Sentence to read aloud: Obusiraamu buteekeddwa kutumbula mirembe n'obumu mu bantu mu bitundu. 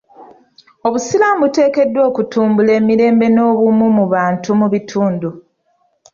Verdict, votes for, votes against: accepted, 2, 0